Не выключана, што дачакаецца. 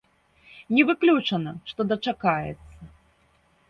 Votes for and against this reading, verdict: 1, 2, rejected